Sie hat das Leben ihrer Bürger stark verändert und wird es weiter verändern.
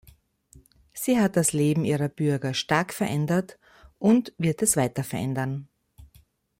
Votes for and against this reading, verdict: 2, 0, accepted